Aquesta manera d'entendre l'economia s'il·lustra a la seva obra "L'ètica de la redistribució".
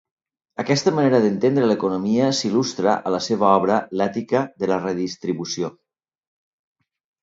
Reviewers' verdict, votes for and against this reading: accepted, 2, 0